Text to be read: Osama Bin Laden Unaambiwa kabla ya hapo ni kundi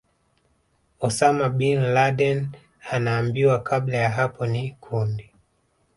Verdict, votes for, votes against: rejected, 1, 2